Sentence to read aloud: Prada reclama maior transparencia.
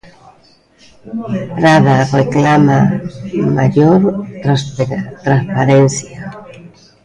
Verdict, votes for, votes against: rejected, 0, 2